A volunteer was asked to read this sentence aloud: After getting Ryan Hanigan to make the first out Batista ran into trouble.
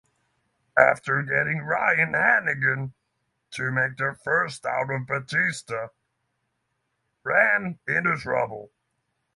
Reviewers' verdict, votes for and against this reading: rejected, 0, 3